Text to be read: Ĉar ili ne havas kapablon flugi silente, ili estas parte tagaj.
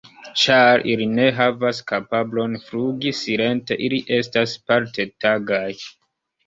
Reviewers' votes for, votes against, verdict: 1, 3, rejected